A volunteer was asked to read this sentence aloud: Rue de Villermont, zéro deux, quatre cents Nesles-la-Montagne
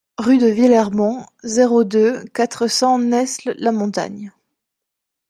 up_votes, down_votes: 2, 0